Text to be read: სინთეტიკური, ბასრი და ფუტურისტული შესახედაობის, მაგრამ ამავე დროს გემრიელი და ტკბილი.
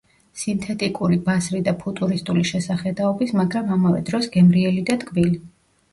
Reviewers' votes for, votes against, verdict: 1, 2, rejected